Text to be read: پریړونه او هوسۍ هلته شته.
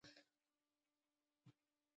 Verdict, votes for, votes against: rejected, 0, 2